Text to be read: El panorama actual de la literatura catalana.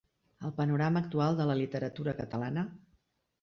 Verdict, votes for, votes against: accepted, 3, 0